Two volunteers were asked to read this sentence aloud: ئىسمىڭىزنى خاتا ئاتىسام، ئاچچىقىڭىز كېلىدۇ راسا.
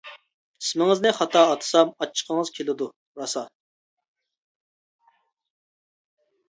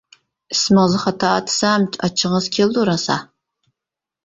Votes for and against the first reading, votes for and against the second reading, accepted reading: 2, 0, 0, 2, first